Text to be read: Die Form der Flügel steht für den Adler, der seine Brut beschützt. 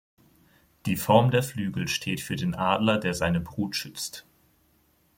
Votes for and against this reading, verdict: 0, 2, rejected